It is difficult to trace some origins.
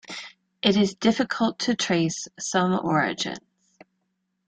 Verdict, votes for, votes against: rejected, 1, 2